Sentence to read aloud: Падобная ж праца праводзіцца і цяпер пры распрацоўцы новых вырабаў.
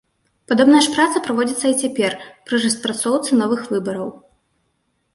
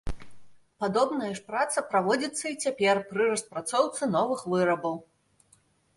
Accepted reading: second